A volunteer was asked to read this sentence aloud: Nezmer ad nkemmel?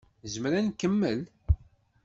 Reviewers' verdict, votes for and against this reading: accepted, 2, 0